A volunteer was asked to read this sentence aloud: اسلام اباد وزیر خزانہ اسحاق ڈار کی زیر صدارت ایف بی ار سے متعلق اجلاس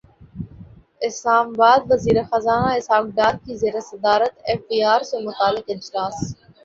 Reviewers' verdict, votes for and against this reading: accepted, 2, 1